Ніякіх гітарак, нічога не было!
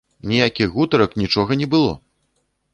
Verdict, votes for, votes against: rejected, 0, 2